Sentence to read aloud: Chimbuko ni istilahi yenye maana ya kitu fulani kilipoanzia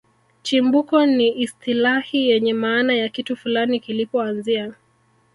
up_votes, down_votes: 1, 2